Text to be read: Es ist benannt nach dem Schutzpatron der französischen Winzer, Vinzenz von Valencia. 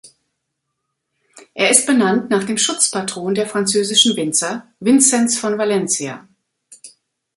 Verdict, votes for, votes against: rejected, 0, 2